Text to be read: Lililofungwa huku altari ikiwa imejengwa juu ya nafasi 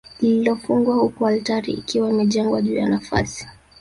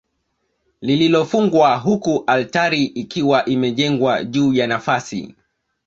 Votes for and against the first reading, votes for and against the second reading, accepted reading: 1, 2, 2, 0, second